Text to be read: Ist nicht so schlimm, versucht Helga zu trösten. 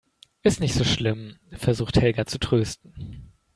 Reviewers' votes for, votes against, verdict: 2, 0, accepted